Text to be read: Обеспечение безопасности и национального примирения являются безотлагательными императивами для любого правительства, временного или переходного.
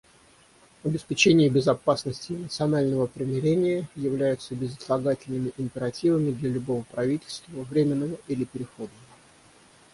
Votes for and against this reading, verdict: 0, 6, rejected